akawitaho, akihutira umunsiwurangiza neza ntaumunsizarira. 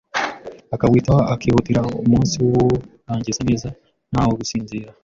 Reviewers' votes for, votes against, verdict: 0, 2, rejected